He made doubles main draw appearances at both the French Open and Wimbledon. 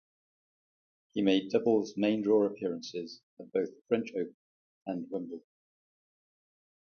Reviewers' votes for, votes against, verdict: 0, 2, rejected